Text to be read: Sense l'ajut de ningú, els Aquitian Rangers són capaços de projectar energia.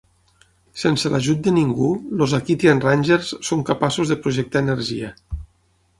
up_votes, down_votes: 9, 6